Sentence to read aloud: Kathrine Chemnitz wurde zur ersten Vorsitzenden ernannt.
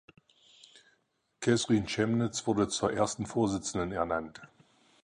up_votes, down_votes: 4, 2